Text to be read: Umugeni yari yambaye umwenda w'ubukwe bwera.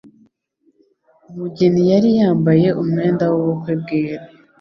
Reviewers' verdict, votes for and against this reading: accepted, 2, 0